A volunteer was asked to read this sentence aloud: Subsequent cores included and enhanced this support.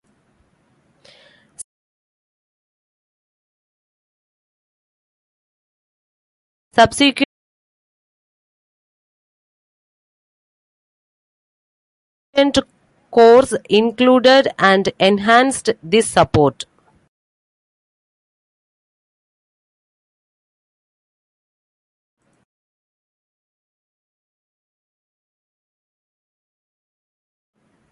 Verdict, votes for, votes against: rejected, 0, 2